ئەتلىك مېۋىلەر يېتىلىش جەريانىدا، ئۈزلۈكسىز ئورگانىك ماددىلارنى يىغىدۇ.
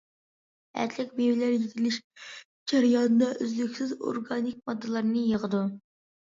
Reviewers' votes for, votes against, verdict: 2, 0, accepted